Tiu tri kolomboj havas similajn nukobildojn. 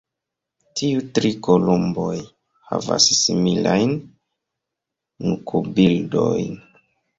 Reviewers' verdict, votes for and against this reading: rejected, 0, 2